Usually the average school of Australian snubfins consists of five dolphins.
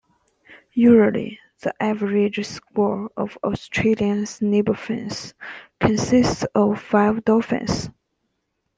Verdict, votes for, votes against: rejected, 0, 2